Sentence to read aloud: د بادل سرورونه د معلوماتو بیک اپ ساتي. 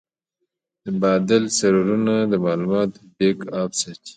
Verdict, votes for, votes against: rejected, 1, 2